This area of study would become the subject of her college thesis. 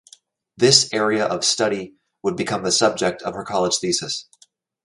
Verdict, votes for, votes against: accepted, 2, 0